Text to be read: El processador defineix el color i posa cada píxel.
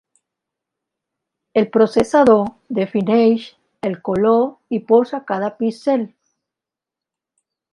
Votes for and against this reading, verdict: 2, 0, accepted